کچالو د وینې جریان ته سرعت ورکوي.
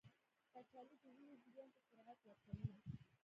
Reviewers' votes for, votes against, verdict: 1, 2, rejected